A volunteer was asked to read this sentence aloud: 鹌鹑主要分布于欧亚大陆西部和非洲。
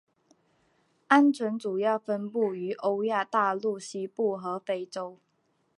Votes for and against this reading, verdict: 1, 2, rejected